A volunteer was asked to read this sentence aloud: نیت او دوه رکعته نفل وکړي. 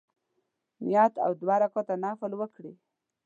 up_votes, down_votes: 3, 0